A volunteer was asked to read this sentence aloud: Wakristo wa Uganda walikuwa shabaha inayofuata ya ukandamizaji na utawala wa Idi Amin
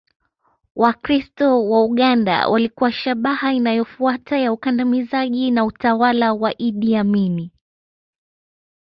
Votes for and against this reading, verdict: 0, 2, rejected